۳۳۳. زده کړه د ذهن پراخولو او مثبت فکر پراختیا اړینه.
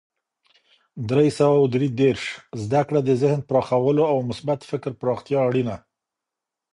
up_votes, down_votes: 0, 2